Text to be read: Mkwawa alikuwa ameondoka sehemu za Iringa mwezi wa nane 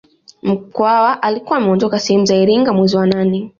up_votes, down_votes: 2, 0